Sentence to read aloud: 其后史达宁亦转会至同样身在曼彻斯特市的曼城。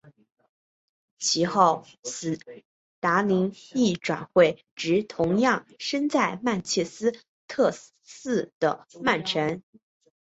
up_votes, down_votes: 4, 0